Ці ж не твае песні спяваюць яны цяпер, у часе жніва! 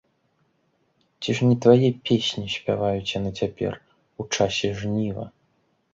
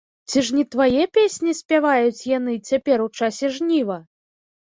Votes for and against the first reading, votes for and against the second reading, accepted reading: 2, 0, 1, 2, first